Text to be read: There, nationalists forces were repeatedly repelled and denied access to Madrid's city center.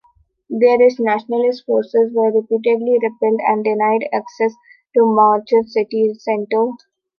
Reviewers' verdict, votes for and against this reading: rejected, 0, 2